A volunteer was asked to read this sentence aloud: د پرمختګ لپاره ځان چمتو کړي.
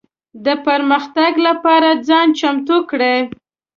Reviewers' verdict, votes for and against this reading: accepted, 2, 1